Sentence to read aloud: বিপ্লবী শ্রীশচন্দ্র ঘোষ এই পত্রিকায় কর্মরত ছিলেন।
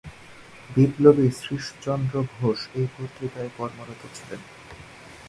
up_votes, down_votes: 1, 2